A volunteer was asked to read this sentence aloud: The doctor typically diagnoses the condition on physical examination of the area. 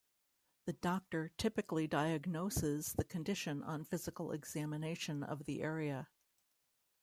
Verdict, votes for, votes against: rejected, 0, 2